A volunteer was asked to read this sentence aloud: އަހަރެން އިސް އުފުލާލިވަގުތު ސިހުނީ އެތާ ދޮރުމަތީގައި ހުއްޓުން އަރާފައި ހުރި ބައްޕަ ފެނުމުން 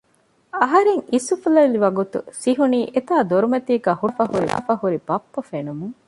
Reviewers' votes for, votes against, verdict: 0, 2, rejected